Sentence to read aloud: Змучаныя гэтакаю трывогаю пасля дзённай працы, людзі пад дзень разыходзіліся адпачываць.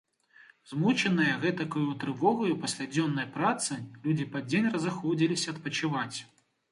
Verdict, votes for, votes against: accepted, 2, 0